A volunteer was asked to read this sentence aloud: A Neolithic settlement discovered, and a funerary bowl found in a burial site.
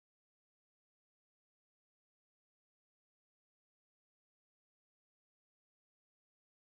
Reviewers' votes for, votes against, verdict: 0, 2, rejected